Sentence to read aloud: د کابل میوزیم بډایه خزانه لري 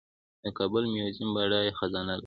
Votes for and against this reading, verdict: 2, 0, accepted